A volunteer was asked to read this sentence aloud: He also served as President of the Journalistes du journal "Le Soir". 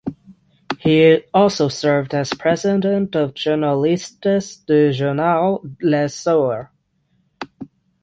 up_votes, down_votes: 0, 6